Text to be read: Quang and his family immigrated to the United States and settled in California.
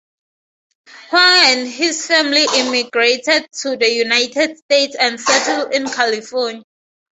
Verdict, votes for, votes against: rejected, 0, 2